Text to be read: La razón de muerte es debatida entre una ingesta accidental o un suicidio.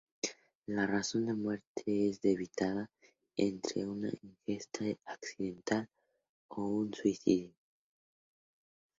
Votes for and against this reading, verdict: 2, 0, accepted